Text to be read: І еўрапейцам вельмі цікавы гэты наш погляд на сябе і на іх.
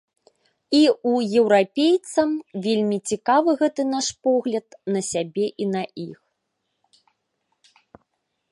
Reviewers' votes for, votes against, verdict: 1, 2, rejected